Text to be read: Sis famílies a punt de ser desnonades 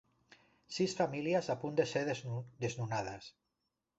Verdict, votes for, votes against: rejected, 1, 2